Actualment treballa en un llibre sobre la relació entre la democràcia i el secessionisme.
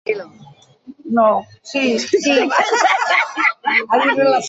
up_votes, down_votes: 0, 2